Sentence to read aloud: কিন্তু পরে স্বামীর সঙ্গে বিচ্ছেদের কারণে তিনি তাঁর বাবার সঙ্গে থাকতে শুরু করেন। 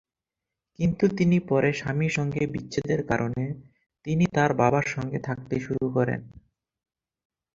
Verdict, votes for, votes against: rejected, 0, 4